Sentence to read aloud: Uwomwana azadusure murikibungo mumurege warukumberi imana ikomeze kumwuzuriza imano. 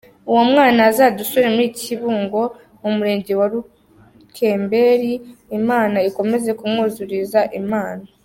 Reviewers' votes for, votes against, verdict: 0, 2, rejected